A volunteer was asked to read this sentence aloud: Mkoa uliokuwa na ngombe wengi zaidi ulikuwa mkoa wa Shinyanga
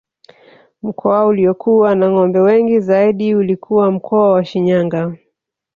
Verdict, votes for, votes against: accepted, 2, 0